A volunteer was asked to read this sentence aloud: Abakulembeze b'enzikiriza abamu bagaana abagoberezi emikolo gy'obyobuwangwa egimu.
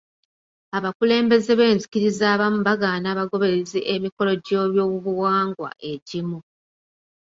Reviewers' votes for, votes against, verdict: 2, 0, accepted